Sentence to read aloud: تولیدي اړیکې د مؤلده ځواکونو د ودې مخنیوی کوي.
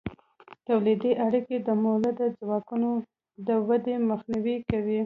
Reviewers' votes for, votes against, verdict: 2, 0, accepted